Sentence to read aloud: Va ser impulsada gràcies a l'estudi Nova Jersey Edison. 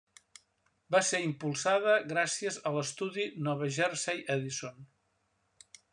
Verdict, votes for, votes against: accepted, 2, 0